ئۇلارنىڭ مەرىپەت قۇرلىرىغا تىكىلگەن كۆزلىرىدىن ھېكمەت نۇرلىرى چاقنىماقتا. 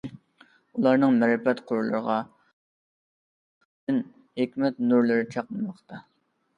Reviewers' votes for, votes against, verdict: 0, 2, rejected